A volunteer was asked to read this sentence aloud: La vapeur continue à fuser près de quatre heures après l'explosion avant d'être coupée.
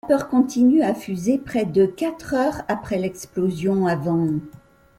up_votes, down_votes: 0, 2